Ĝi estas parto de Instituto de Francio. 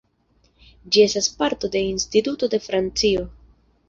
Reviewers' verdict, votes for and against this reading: accepted, 2, 0